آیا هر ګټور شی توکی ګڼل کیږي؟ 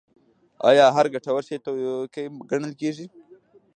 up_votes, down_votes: 2, 0